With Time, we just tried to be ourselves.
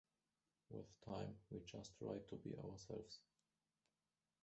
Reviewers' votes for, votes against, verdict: 1, 2, rejected